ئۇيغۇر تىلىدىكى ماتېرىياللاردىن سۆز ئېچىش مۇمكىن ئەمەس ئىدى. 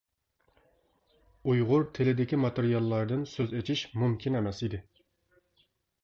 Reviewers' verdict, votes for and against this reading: accepted, 2, 0